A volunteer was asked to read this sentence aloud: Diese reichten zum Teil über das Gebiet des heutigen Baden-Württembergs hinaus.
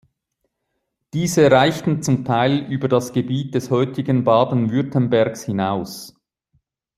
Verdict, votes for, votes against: accepted, 2, 0